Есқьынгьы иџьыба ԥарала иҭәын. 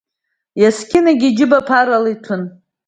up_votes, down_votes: 2, 0